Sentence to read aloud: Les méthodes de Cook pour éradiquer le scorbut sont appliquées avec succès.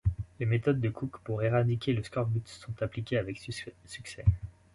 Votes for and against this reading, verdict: 1, 2, rejected